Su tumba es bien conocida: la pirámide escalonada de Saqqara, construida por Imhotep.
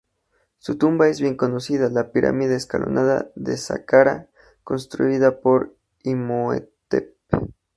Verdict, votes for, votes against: accepted, 2, 0